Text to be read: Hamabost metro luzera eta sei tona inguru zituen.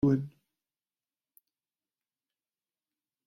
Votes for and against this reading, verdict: 0, 2, rejected